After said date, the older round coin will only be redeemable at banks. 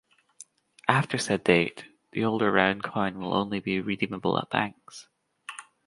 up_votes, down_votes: 2, 1